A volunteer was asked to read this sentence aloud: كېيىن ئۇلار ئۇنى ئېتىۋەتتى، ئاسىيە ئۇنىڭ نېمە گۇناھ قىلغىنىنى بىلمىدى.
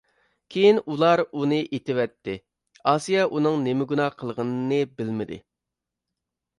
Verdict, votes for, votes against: accepted, 2, 0